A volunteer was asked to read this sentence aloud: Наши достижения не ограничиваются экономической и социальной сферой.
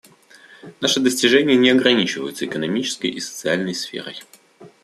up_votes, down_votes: 2, 0